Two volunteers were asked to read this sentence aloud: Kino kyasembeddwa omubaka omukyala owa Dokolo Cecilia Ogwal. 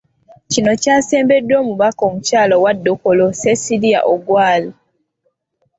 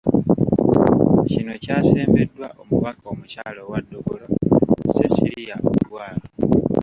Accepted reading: first